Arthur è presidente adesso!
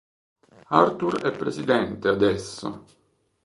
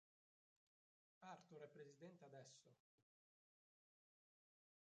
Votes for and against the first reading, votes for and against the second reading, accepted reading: 3, 0, 0, 3, first